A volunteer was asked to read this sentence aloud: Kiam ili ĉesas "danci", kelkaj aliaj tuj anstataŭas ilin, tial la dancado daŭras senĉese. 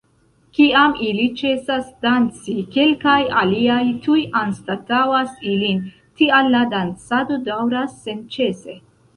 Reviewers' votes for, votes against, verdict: 0, 2, rejected